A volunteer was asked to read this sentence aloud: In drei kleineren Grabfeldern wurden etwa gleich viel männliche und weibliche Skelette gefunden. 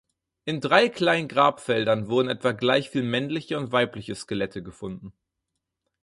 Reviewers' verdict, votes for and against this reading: rejected, 2, 4